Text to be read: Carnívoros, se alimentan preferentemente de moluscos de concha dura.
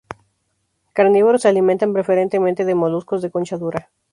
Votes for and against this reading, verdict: 2, 0, accepted